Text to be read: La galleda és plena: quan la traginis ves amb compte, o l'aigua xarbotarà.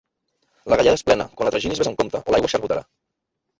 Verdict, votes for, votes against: rejected, 1, 2